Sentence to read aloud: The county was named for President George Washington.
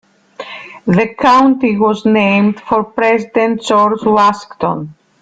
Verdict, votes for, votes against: rejected, 0, 2